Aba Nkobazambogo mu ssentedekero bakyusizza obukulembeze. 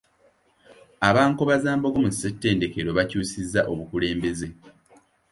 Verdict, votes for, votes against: accepted, 2, 0